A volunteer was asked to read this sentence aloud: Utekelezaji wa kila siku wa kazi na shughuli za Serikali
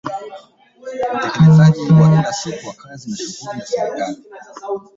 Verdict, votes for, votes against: rejected, 0, 2